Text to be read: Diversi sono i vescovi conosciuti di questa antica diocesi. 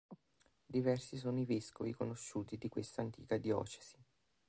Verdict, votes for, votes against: rejected, 0, 2